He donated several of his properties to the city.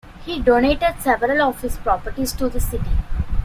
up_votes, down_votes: 2, 1